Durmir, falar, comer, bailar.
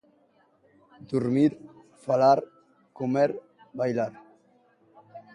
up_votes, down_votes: 2, 0